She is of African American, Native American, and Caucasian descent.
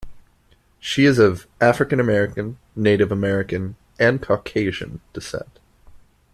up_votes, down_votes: 2, 0